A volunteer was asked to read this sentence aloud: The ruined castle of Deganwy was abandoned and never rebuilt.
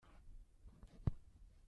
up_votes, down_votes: 0, 2